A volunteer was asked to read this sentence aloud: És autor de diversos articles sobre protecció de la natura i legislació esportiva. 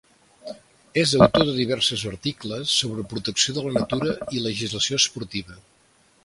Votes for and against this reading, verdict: 1, 2, rejected